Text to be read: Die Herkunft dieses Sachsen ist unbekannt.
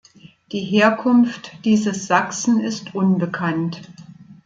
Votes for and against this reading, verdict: 2, 0, accepted